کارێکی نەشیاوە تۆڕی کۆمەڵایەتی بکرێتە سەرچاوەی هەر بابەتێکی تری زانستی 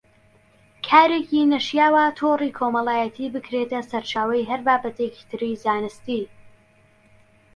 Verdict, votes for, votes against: accepted, 2, 0